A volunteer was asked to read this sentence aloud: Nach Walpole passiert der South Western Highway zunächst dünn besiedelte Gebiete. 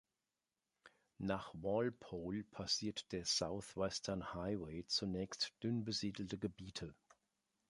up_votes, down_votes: 2, 0